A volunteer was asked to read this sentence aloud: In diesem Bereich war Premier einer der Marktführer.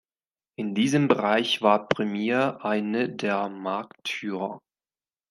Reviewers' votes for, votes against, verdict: 1, 2, rejected